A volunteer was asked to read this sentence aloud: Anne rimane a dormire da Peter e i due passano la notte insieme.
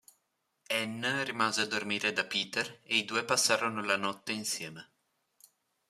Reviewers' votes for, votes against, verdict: 0, 2, rejected